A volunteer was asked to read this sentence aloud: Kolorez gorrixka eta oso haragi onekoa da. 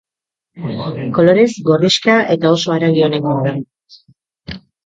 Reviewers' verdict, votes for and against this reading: rejected, 0, 2